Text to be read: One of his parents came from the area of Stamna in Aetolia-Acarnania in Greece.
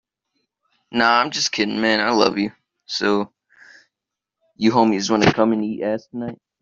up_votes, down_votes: 0, 2